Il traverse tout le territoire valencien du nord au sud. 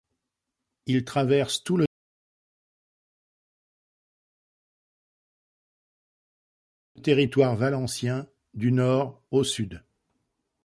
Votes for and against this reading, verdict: 0, 2, rejected